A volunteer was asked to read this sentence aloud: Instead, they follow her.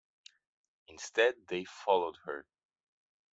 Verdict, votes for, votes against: accepted, 2, 1